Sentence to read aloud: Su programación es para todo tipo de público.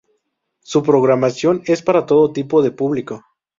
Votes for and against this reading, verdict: 0, 2, rejected